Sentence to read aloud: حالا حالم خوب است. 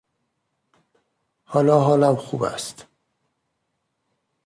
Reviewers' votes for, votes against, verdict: 2, 0, accepted